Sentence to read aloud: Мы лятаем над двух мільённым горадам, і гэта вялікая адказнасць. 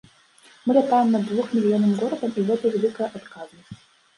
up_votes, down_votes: 1, 2